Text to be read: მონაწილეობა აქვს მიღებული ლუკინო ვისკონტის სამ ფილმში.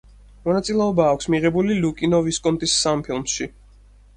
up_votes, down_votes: 4, 0